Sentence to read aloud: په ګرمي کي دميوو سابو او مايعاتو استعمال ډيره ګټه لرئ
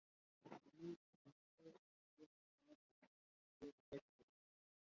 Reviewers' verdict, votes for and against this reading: rejected, 0, 2